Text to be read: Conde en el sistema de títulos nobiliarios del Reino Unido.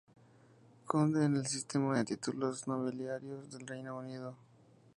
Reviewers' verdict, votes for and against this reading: accepted, 2, 0